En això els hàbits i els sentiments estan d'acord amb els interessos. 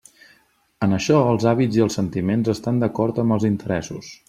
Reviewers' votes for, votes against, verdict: 4, 0, accepted